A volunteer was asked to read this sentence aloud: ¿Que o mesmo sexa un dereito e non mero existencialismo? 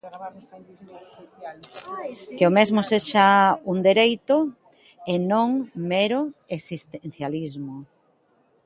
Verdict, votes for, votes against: rejected, 0, 2